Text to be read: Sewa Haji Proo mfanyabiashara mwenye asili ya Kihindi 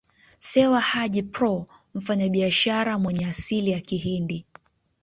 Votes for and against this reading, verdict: 2, 0, accepted